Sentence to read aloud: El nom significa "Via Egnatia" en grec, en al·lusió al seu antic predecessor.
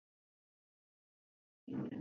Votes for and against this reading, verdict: 0, 3, rejected